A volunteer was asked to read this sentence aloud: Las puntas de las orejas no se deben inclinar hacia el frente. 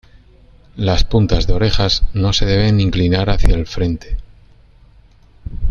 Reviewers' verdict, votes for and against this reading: rejected, 1, 2